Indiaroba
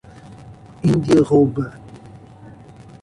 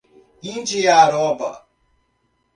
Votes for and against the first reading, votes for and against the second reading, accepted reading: 0, 2, 2, 0, second